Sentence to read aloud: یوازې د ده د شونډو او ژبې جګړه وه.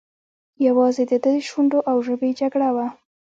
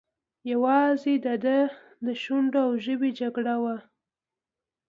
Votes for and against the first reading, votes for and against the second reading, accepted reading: 0, 2, 2, 0, second